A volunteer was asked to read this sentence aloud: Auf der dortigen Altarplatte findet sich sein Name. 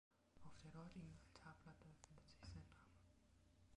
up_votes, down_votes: 0, 2